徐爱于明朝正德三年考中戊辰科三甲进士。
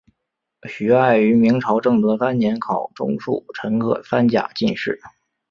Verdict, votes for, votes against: accepted, 3, 2